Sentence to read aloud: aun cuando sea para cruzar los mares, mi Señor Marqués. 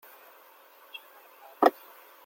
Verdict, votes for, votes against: rejected, 0, 2